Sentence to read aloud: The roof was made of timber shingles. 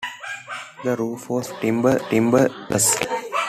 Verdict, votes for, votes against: rejected, 0, 2